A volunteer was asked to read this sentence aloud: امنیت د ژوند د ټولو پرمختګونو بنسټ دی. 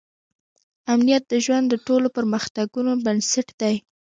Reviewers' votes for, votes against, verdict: 1, 2, rejected